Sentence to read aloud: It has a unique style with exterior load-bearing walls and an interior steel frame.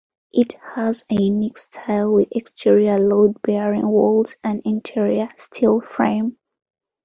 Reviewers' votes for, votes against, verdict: 2, 0, accepted